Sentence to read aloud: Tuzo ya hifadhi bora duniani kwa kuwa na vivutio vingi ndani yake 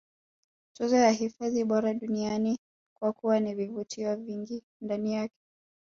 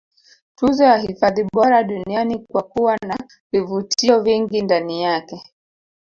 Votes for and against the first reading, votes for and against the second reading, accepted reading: 2, 0, 0, 2, first